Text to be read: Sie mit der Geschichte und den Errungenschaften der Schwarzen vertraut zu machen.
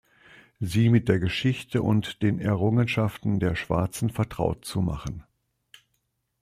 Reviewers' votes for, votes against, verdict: 2, 0, accepted